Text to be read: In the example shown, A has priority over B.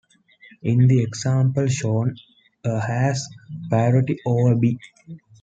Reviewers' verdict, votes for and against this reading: rejected, 0, 2